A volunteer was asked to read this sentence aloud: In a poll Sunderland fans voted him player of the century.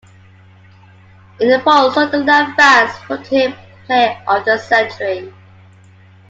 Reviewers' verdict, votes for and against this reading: accepted, 2, 0